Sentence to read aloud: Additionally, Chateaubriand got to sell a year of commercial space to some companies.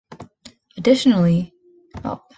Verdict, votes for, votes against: rejected, 0, 2